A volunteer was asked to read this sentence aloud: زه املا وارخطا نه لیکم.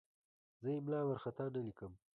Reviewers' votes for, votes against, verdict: 2, 1, accepted